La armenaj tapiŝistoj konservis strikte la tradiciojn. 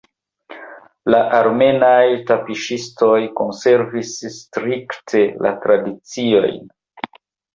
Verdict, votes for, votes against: accepted, 2, 1